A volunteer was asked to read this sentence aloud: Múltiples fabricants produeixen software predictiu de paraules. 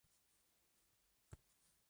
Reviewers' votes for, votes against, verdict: 0, 2, rejected